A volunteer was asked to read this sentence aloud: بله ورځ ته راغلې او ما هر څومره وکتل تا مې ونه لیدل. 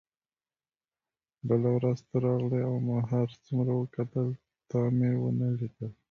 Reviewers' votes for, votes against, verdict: 1, 2, rejected